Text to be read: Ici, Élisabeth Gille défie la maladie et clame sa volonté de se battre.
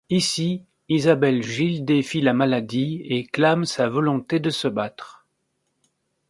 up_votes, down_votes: 2, 1